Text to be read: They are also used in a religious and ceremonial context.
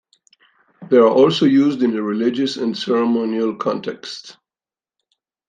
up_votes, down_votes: 2, 0